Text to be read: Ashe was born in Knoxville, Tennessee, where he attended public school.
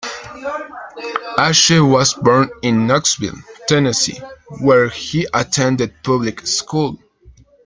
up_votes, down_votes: 2, 1